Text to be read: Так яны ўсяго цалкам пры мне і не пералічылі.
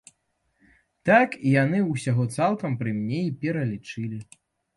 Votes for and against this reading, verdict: 0, 2, rejected